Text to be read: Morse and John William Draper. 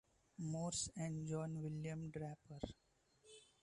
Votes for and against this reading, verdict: 0, 2, rejected